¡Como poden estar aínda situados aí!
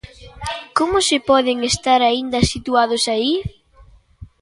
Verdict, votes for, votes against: rejected, 0, 2